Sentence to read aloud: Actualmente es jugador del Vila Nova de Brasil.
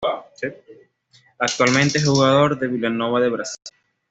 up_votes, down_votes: 2, 1